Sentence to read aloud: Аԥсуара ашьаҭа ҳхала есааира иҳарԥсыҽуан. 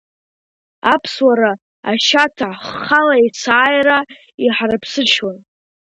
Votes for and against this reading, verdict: 2, 0, accepted